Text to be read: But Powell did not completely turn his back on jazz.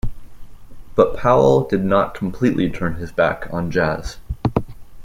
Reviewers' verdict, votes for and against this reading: accepted, 2, 0